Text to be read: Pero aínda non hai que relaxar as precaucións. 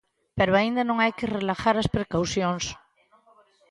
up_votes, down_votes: 0, 4